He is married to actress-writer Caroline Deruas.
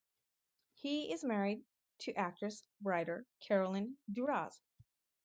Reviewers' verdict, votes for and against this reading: rejected, 2, 2